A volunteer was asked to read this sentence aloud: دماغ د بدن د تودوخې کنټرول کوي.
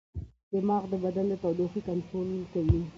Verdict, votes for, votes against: rejected, 1, 2